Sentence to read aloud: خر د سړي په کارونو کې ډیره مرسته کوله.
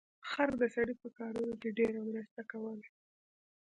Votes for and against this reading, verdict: 2, 0, accepted